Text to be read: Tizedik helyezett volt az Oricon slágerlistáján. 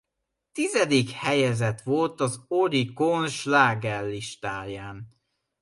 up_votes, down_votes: 2, 0